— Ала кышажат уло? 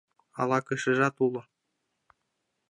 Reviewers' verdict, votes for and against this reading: rejected, 1, 2